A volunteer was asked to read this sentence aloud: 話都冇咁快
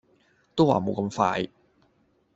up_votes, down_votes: 0, 2